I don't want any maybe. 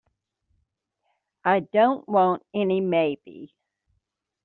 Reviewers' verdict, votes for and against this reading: accepted, 4, 0